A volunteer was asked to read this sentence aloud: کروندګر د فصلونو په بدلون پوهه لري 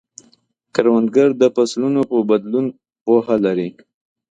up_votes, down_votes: 2, 0